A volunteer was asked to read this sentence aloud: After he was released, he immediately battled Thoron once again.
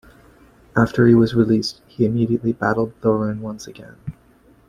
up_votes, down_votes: 2, 0